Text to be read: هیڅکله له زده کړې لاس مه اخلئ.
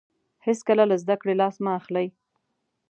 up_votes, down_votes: 2, 0